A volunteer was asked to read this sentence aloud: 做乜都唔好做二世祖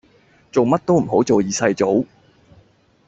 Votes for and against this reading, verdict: 2, 0, accepted